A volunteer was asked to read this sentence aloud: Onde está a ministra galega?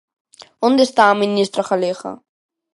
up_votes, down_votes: 2, 0